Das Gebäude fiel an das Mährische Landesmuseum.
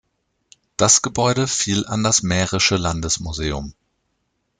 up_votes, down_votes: 2, 0